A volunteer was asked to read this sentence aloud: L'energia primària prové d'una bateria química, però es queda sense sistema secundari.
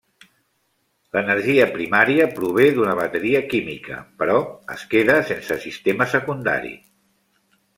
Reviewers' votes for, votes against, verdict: 3, 0, accepted